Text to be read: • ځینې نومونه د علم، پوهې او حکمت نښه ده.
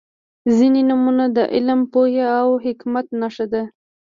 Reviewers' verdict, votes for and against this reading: accepted, 2, 0